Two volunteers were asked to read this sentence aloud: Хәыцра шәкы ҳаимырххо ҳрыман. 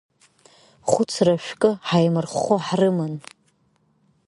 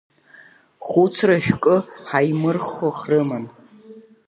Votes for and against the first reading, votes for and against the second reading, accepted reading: 2, 1, 0, 2, first